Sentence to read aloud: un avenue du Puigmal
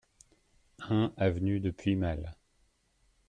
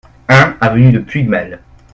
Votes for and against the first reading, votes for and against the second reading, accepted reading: 1, 2, 2, 0, second